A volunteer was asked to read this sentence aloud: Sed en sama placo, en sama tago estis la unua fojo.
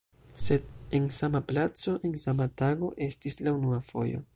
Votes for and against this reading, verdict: 1, 2, rejected